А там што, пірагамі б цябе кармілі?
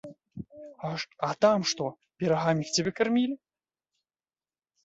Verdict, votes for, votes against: rejected, 0, 2